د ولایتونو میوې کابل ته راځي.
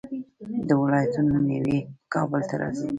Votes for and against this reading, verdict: 0, 2, rejected